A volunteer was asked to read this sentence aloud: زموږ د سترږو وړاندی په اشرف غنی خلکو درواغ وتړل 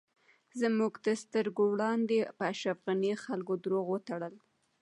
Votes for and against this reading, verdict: 2, 0, accepted